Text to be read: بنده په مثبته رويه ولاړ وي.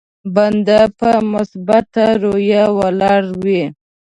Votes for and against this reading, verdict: 0, 2, rejected